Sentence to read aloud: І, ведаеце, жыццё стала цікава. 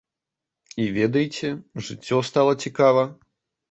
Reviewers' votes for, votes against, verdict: 2, 0, accepted